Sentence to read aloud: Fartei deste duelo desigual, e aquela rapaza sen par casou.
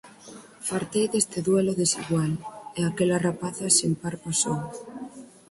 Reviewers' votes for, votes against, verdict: 0, 4, rejected